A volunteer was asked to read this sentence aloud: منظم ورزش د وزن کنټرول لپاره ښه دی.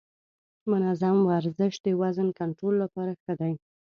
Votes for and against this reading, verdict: 3, 0, accepted